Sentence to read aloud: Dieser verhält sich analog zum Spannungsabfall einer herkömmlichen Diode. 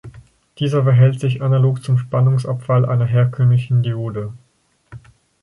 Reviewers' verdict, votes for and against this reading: accepted, 4, 0